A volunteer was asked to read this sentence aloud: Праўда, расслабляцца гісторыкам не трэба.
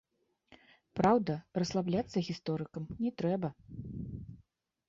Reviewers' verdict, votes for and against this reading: accepted, 2, 0